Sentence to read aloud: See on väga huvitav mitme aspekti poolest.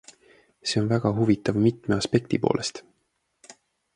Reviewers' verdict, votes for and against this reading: accepted, 2, 0